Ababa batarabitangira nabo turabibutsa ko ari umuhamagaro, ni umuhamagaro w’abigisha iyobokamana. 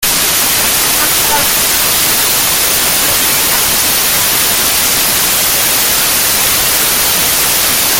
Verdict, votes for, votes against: rejected, 0, 2